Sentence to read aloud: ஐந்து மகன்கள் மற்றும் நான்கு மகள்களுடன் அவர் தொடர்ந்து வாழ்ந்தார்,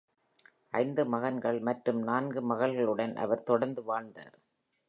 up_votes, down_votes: 2, 0